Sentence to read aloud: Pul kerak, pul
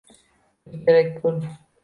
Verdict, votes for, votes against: rejected, 0, 2